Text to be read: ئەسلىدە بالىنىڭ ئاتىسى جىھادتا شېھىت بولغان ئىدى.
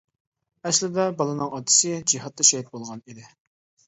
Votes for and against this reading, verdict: 2, 0, accepted